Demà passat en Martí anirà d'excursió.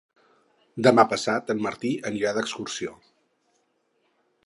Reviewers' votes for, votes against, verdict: 4, 0, accepted